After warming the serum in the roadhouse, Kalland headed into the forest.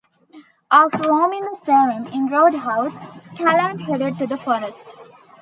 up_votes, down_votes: 1, 2